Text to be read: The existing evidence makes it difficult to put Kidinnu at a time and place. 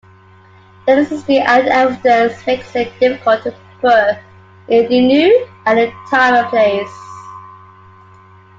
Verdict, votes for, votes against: rejected, 0, 2